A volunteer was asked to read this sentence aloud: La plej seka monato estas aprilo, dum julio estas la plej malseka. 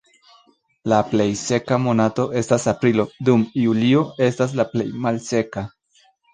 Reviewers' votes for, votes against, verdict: 1, 2, rejected